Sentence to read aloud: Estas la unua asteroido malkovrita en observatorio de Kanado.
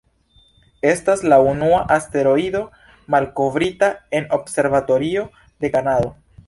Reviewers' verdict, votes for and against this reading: rejected, 1, 2